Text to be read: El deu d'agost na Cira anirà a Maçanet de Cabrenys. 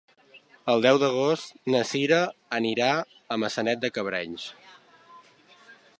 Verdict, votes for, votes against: accepted, 3, 0